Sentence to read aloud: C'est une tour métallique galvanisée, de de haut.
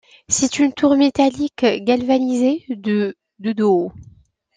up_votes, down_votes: 2, 1